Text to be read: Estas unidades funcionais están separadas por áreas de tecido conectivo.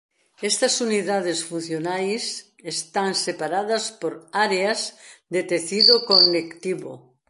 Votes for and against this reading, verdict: 1, 2, rejected